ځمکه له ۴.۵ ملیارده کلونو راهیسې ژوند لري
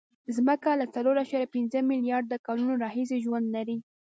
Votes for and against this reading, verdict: 0, 2, rejected